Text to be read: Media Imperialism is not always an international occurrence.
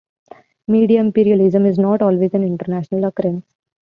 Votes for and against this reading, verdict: 2, 3, rejected